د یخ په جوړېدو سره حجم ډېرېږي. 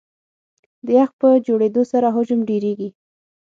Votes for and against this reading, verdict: 6, 0, accepted